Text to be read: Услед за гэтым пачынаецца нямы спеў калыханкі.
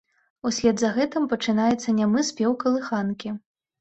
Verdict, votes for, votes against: accepted, 2, 0